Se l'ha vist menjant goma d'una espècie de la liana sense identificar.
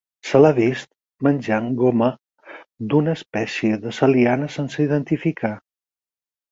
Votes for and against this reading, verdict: 0, 4, rejected